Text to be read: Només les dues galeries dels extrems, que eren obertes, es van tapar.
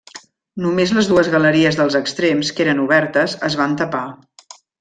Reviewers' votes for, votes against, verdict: 3, 0, accepted